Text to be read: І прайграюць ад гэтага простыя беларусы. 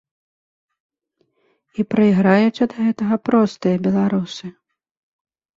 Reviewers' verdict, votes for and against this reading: accepted, 2, 0